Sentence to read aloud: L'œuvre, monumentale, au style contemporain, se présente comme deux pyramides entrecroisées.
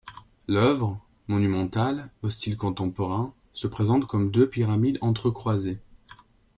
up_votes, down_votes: 2, 1